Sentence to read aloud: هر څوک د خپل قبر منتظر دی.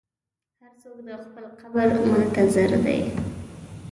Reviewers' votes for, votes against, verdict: 1, 2, rejected